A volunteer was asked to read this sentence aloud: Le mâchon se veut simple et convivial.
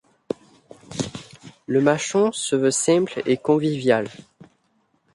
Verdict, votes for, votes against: accepted, 2, 0